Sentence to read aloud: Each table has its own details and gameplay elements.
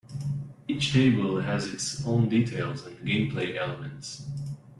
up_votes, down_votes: 2, 0